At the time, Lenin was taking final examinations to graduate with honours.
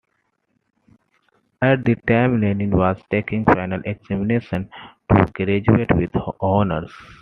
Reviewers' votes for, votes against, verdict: 1, 2, rejected